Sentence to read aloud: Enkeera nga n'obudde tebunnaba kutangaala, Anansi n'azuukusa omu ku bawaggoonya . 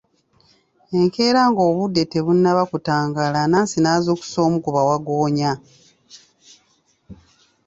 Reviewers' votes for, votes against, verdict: 2, 0, accepted